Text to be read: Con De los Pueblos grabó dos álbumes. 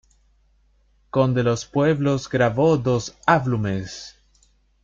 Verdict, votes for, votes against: rejected, 1, 2